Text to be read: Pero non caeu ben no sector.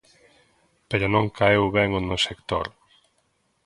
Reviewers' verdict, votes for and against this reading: rejected, 0, 2